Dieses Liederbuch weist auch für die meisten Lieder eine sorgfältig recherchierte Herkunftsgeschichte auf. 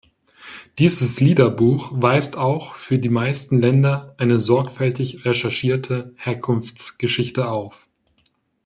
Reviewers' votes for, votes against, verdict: 1, 2, rejected